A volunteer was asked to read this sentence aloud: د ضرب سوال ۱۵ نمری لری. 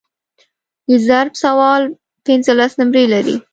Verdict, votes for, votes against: rejected, 0, 2